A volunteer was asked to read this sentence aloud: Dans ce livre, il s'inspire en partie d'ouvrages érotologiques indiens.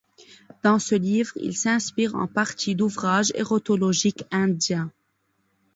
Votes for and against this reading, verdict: 2, 0, accepted